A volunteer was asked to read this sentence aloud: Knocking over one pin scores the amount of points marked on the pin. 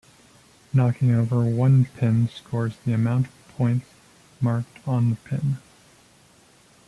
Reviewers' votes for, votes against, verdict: 2, 0, accepted